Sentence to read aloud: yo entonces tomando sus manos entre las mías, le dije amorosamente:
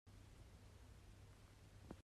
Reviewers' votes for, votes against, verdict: 0, 2, rejected